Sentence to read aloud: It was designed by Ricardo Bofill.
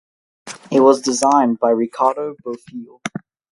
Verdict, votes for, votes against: rejected, 2, 2